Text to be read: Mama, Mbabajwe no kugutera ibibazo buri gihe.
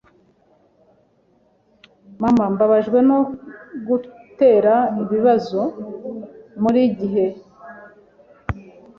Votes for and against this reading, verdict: 0, 2, rejected